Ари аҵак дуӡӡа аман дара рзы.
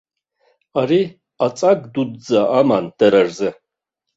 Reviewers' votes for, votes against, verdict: 1, 2, rejected